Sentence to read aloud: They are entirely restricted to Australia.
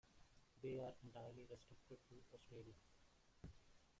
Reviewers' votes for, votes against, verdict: 0, 2, rejected